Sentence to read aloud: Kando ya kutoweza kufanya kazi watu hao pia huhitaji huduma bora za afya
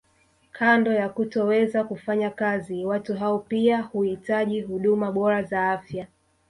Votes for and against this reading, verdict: 0, 2, rejected